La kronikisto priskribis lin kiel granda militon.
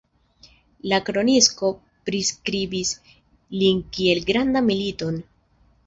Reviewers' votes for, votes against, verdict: 1, 2, rejected